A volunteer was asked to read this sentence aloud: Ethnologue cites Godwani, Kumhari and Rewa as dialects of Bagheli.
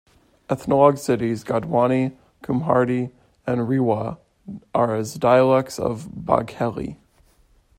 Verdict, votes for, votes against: rejected, 0, 2